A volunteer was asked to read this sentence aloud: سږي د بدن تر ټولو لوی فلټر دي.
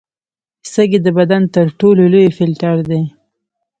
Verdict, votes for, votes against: accepted, 2, 0